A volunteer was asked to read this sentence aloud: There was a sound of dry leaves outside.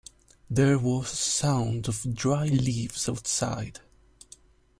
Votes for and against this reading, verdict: 0, 2, rejected